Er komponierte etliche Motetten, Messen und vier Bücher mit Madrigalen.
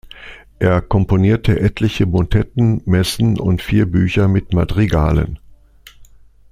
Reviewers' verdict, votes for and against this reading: accepted, 2, 0